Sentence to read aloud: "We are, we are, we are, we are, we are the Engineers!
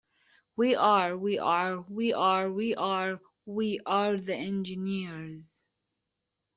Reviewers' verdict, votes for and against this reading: accepted, 2, 0